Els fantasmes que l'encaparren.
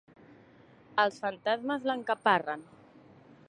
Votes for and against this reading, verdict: 0, 2, rejected